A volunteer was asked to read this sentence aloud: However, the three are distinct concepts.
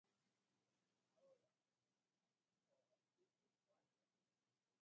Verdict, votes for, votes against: rejected, 0, 2